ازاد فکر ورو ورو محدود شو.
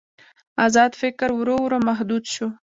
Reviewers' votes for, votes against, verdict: 0, 2, rejected